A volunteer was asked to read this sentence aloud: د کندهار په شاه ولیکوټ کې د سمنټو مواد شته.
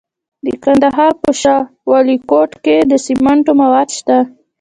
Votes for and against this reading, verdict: 3, 0, accepted